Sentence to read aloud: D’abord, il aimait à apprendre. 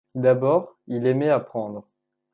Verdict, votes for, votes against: rejected, 0, 2